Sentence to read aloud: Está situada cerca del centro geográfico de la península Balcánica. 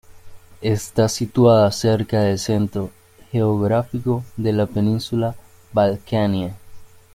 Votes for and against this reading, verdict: 0, 3, rejected